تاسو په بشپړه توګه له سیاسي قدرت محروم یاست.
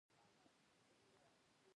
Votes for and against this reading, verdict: 0, 2, rejected